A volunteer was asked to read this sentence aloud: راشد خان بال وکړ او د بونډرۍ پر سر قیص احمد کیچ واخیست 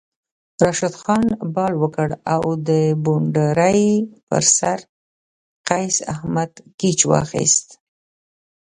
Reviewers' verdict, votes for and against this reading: rejected, 1, 2